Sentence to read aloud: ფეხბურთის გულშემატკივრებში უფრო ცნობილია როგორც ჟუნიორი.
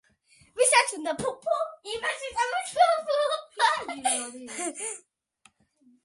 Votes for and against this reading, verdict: 0, 2, rejected